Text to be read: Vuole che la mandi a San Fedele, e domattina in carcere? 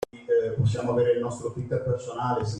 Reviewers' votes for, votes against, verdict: 0, 2, rejected